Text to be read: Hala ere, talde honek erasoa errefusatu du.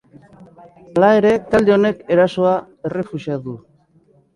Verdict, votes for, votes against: rejected, 1, 3